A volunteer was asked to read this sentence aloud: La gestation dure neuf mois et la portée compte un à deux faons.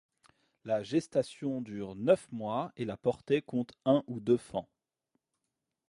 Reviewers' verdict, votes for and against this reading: rejected, 1, 2